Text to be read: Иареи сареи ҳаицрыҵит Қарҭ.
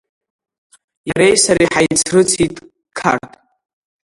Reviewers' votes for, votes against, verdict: 3, 1, accepted